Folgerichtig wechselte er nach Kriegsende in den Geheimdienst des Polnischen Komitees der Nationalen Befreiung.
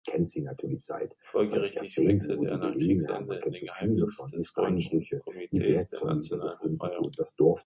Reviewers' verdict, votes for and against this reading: rejected, 1, 2